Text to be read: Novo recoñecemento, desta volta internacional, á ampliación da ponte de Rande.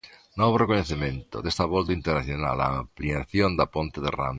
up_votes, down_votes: 1, 2